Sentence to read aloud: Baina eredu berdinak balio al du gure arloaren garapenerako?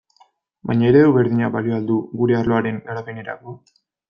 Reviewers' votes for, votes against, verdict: 2, 0, accepted